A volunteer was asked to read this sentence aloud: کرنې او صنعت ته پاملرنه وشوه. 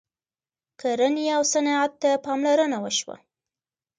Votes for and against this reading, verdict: 2, 0, accepted